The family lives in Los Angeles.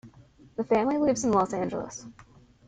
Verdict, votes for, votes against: accepted, 2, 0